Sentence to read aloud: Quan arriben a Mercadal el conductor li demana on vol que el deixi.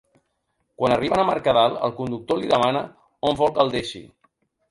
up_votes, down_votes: 0, 2